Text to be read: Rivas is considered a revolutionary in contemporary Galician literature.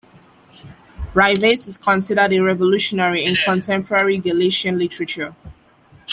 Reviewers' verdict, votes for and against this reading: accepted, 2, 0